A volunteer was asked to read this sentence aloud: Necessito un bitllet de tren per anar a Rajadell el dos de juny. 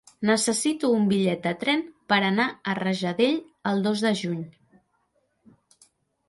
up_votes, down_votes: 3, 0